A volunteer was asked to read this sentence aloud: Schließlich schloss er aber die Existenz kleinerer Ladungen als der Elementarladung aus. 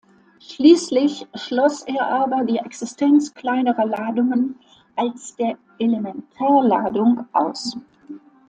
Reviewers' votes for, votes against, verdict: 2, 0, accepted